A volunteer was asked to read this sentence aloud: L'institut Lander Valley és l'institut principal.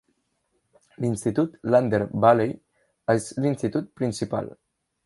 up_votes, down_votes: 3, 0